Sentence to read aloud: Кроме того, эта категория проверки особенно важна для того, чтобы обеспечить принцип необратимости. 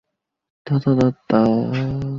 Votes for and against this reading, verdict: 0, 2, rejected